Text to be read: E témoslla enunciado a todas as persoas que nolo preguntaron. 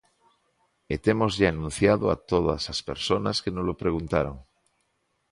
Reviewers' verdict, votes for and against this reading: rejected, 0, 2